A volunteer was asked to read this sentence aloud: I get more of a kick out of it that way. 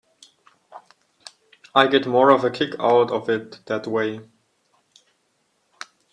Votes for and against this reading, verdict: 1, 2, rejected